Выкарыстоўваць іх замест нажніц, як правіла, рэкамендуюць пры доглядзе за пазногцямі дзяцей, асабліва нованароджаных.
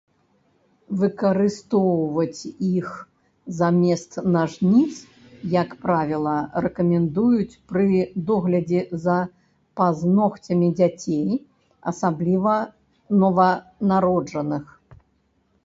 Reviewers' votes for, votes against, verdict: 0, 2, rejected